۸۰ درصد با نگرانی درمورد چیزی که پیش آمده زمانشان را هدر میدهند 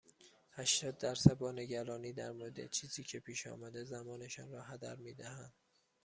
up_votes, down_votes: 0, 2